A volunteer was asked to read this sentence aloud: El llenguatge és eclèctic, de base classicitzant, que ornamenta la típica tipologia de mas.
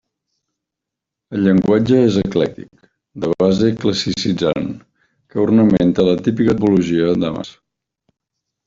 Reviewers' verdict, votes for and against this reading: rejected, 0, 2